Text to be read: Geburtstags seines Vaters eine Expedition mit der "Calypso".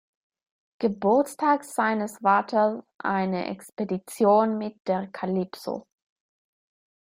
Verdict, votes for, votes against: accepted, 2, 0